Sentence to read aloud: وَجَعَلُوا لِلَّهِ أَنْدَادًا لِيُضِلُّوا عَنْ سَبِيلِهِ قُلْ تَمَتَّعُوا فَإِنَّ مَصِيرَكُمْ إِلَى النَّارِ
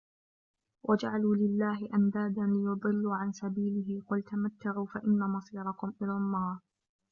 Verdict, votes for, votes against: accepted, 2, 0